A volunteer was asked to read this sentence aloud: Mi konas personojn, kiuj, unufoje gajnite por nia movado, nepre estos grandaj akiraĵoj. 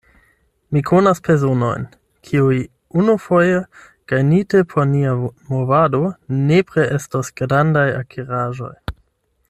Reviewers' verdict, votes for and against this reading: rejected, 0, 8